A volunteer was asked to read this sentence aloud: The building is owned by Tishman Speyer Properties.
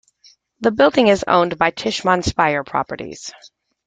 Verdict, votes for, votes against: accepted, 2, 0